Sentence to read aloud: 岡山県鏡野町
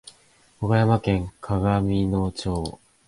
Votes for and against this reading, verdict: 3, 0, accepted